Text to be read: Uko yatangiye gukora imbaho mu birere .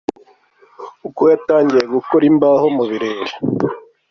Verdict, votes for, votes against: accepted, 3, 0